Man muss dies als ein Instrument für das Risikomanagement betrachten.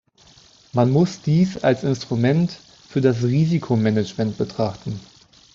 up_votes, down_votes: 0, 2